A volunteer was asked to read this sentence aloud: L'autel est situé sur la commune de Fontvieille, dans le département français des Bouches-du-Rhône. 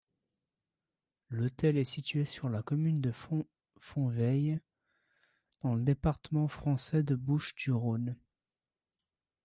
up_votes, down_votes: 0, 2